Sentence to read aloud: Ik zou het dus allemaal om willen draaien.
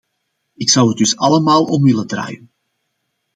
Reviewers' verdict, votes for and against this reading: accepted, 2, 0